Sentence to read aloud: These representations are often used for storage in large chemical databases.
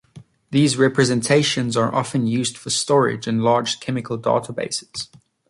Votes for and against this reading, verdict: 3, 0, accepted